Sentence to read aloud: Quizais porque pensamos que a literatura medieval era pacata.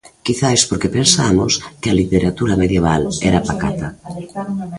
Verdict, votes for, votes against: rejected, 1, 2